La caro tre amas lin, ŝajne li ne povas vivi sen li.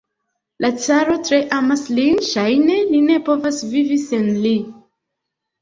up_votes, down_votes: 0, 2